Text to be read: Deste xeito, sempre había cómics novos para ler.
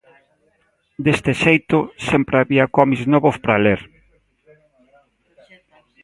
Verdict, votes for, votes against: accepted, 2, 1